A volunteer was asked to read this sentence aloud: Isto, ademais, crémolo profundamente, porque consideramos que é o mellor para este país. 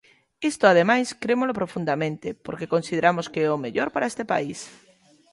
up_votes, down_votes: 2, 0